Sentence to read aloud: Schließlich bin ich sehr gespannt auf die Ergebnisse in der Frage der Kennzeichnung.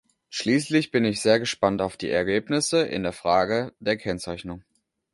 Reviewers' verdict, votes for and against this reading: accepted, 2, 0